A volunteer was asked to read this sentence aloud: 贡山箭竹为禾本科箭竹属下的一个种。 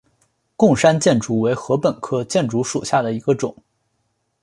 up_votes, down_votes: 3, 0